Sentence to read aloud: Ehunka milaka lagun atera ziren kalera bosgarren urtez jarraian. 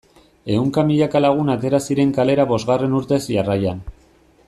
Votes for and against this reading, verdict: 2, 0, accepted